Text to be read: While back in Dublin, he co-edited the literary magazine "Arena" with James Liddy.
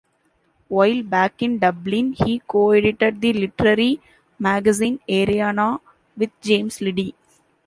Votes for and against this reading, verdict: 2, 1, accepted